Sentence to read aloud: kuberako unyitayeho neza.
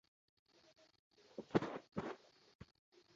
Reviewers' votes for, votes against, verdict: 0, 2, rejected